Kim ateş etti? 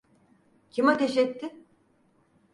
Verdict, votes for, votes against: accepted, 4, 0